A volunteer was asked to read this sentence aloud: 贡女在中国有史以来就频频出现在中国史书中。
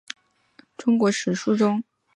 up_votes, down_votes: 0, 2